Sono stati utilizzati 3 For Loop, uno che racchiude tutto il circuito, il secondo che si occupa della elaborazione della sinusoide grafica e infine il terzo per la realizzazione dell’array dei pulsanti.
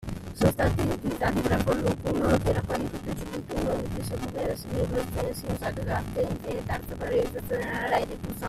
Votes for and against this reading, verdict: 0, 2, rejected